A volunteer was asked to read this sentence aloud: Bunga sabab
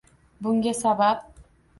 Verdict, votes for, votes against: accepted, 2, 0